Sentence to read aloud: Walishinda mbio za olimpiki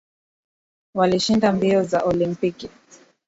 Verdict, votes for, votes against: accepted, 2, 0